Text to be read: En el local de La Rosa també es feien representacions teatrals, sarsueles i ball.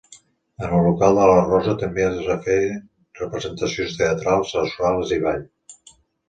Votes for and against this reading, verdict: 1, 2, rejected